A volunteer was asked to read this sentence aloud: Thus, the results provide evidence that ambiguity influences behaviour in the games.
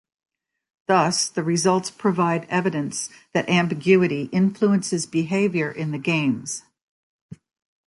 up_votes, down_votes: 3, 0